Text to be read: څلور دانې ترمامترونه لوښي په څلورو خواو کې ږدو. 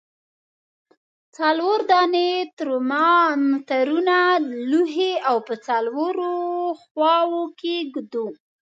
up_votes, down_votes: 0, 2